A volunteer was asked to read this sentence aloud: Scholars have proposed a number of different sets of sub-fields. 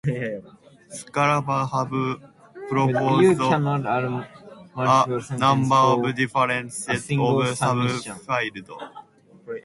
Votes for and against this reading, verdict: 0, 2, rejected